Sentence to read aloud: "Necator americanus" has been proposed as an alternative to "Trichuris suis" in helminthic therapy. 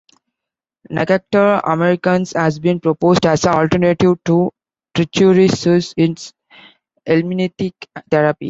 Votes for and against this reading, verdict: 0, 2, rejected